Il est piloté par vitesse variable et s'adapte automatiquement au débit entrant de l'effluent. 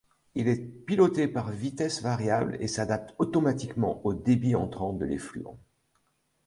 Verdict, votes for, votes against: accepted, 2, 0